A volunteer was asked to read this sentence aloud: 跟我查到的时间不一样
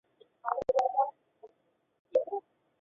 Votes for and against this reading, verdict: 0, 3, rejected